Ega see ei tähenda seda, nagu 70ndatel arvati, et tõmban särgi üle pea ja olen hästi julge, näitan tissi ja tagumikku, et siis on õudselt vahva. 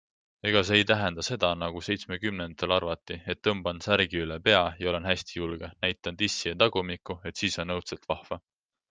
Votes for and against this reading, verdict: 0, 2, rejected